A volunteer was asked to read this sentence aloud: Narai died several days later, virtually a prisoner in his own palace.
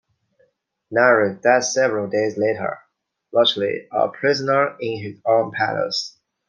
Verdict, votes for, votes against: accepted, 2, 1